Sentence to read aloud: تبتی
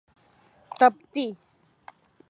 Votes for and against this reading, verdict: 3, 1, accepted